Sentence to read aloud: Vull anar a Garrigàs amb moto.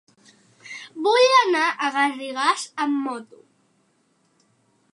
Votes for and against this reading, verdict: 4, 0, accepted